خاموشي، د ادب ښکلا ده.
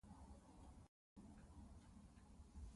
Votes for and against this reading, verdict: 0, 2, rejected